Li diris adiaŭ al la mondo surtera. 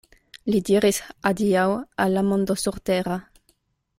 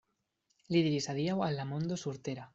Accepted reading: first